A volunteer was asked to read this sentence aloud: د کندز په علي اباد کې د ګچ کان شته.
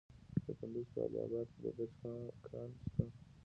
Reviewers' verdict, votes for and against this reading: rejected, 0, 2